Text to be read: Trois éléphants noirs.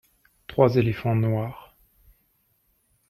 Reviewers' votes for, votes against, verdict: 2, 0, accepted